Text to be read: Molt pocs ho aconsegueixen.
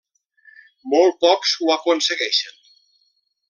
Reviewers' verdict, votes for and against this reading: accepted, 3, 0